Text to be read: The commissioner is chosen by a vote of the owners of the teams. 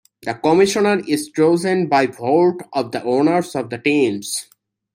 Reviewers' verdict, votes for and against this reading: rejected, 1, 2